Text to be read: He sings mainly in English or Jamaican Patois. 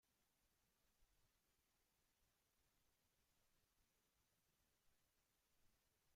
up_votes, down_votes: 1, 2